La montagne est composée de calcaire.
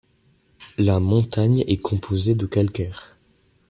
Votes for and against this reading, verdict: 2, 0, accepted